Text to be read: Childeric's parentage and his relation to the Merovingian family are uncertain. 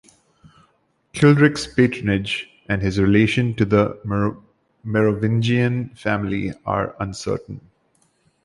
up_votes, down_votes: 3, 4